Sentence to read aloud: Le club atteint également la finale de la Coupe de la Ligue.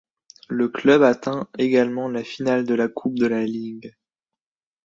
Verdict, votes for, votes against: accepted, 2, 1